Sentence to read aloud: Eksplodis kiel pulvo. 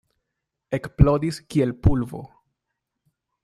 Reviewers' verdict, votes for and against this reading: accepted, 2, 1